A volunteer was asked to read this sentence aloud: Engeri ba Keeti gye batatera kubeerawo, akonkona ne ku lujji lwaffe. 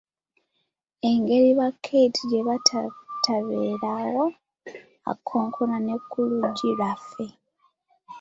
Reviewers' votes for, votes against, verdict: 0, 2, rejected